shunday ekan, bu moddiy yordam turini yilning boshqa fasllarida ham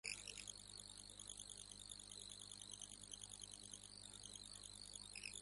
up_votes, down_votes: 0, 2